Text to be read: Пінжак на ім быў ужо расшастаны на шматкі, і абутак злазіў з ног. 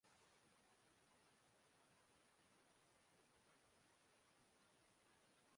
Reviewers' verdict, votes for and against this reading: rejected, 0, 3